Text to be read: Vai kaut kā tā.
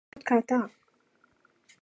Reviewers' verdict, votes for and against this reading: rejected, 0, 2